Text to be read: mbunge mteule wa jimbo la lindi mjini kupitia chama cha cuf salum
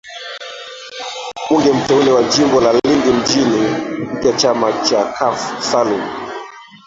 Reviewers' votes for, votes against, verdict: 1, 2, rejected